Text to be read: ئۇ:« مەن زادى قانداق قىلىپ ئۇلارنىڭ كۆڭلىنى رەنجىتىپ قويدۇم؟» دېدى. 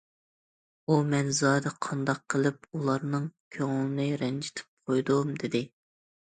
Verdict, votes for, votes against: accepted, 2, 0